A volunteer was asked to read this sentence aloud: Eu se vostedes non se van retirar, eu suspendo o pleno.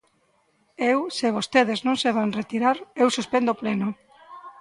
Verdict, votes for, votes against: accepted, 2, 0